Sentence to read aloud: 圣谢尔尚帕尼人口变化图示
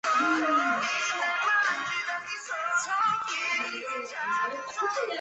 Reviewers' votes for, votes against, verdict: 1, 3, rejected